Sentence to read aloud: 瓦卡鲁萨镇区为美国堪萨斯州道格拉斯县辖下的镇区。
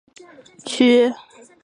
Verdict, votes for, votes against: rejected, 0, 6